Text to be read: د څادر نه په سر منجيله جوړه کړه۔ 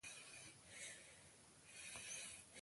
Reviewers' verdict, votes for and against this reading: rejected, 1, 2